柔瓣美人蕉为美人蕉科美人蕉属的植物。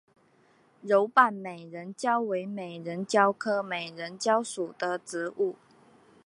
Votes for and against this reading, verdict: 2, 0, accepted